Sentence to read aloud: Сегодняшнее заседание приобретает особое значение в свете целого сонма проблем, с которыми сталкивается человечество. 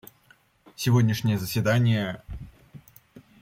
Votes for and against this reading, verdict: 0, 2, rejected